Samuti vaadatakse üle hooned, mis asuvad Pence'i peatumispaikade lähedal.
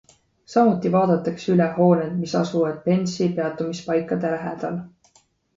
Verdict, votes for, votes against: accepted, 2, 1